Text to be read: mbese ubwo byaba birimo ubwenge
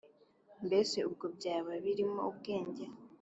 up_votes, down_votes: 2, 0